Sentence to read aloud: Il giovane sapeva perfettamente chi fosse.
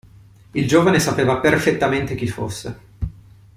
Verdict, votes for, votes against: accepted, 2, 0